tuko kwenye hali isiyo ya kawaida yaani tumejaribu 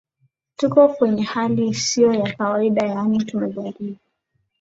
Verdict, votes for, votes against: accepted, 2, 0